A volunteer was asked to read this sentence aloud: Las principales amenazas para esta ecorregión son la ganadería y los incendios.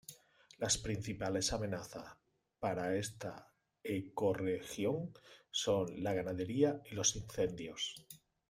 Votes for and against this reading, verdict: 1, 2, rejected